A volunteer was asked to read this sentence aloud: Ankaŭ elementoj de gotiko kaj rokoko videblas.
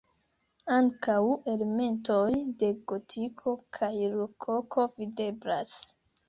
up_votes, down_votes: 1, 2